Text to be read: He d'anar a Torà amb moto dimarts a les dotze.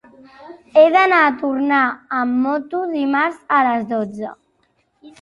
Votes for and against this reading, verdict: 0, 2, rejected